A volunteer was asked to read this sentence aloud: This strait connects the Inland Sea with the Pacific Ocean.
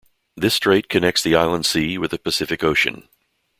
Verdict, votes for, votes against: rejected, 1, 2